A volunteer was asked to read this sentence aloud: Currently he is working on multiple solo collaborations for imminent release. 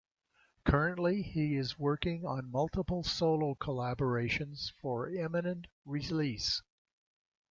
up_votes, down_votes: 1, 2